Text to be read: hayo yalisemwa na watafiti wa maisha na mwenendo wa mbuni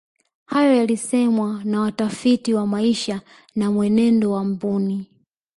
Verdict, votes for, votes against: accepted, 2, 0